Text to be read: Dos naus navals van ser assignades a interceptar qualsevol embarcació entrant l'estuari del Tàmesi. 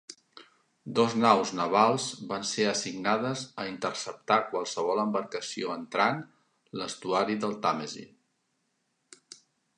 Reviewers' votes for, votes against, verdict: 3, 0, accepted